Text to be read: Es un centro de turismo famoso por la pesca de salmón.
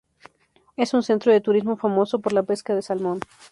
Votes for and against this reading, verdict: 2, 0, accepted